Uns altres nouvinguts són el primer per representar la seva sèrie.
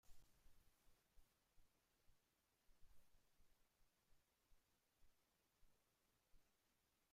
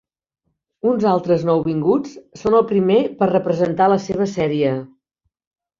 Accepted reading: second